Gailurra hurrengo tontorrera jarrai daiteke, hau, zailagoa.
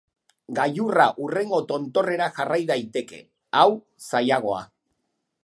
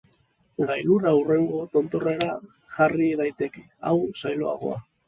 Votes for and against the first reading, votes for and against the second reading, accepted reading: 2, 0, 2, 2, first